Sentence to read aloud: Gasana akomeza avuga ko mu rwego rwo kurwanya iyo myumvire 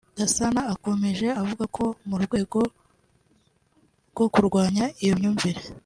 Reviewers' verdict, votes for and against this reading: rejected, 0, 2